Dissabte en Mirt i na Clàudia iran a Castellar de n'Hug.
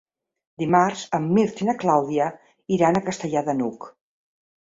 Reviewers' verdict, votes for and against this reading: rejected, 1, 3